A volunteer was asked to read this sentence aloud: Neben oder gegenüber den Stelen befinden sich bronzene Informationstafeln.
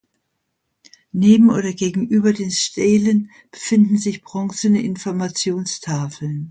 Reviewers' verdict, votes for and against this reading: accepted, 2, 0